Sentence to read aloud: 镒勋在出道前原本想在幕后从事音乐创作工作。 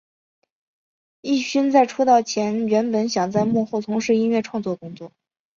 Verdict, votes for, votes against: accepted, 3, 1